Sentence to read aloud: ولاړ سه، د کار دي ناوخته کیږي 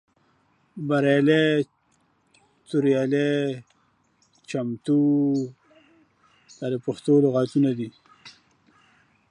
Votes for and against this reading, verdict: 0, 2, rejected